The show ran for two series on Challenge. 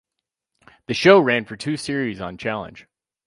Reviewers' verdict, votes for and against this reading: accepted, 4, 0